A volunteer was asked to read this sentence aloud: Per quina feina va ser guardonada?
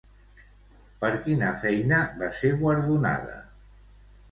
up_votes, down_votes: 2, 0